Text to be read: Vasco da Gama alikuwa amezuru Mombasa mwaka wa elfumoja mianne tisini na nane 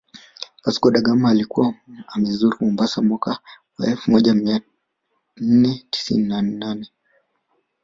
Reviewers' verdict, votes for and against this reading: accepted, 2, 0